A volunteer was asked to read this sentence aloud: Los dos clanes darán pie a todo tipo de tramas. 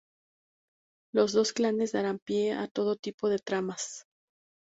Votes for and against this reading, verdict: 2, 0, accepted